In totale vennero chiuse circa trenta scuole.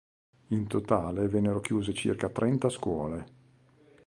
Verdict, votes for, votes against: accepted, 2, 0